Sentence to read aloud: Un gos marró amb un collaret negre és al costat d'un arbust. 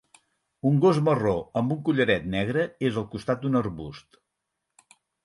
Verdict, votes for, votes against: accepted, 6, 0